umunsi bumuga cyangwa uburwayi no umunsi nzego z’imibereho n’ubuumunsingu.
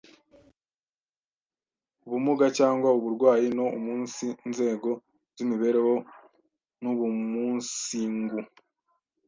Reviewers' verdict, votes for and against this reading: rejected, 1, 2